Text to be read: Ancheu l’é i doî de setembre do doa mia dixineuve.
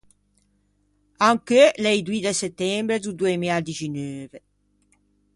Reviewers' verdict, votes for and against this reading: rejected, 0, 2